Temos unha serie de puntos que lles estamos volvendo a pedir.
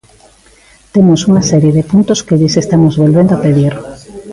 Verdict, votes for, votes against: accepted, 2, 0